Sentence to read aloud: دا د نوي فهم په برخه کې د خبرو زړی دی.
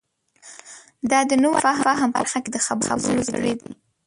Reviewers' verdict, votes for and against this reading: rejected, 0, 2